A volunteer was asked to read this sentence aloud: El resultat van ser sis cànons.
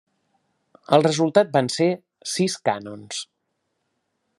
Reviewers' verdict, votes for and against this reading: accepted, 3, 0